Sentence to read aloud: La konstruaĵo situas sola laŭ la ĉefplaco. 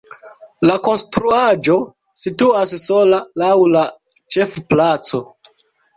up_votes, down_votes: 2, 0